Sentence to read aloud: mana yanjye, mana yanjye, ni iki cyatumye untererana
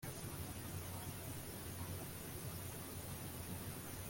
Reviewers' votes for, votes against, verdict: 0, 2, rejected